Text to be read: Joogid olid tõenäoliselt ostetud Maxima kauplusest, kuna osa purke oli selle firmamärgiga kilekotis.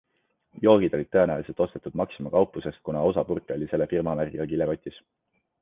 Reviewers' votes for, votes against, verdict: 2, 0, accepted